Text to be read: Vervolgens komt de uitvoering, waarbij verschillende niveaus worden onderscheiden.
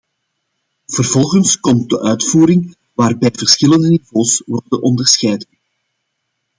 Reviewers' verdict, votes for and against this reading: rejected, 1, 2